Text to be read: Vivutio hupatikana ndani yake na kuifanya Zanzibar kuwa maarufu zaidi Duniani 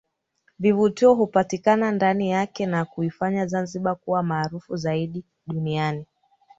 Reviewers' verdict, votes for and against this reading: rejected, 1, 2